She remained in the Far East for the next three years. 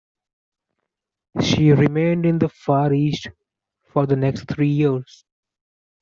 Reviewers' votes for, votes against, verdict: 2, 0, accepted